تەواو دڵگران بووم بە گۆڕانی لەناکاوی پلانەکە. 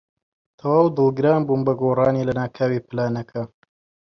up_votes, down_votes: 0, 2